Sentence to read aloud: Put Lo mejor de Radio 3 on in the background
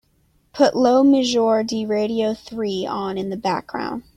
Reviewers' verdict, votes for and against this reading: rejected, 0, 2